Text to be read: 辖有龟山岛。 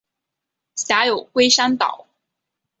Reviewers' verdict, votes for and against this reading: accepted, 3, 1